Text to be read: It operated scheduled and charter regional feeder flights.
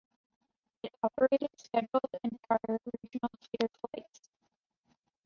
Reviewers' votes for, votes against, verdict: 2, 1, accepted